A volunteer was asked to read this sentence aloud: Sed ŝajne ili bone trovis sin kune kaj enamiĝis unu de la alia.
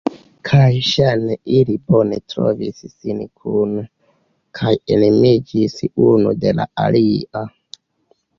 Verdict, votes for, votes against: rejected, 1, 2